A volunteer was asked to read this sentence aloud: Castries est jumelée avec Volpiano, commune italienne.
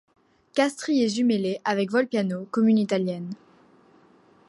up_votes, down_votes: 2, 0